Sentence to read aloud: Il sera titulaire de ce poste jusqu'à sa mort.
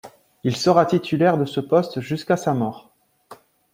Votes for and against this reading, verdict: 2, 0, accepted